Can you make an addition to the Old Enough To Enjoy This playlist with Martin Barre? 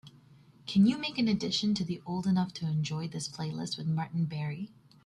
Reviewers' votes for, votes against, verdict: 2, 0, accepted